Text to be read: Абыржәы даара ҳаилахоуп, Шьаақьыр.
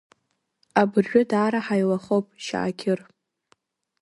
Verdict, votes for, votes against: rejected, 1, 2